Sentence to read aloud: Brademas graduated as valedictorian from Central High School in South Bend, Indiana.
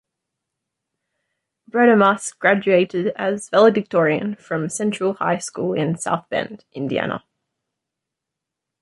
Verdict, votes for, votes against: accepted, 2, 0